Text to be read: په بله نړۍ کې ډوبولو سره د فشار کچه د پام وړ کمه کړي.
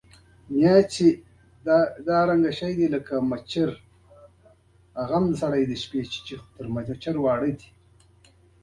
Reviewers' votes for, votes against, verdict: 1, 2, rejected